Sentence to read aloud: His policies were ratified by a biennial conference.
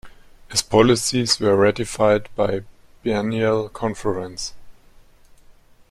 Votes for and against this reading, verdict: 1, 2, rejected